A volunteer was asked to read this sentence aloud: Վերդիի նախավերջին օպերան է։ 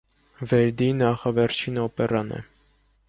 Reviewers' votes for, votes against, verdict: 2, 0, accepted